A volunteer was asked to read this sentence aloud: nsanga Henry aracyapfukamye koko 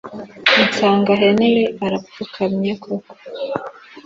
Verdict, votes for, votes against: rejected, 0, 2